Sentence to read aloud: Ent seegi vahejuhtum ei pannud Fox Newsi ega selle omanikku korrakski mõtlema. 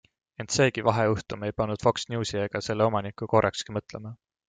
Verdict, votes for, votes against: accepted, 2, 0